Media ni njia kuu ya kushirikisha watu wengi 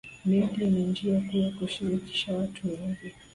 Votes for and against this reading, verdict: 2, 0, accepted